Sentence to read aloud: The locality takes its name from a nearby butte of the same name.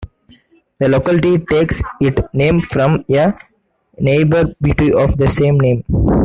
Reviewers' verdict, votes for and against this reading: rejected, 0, 2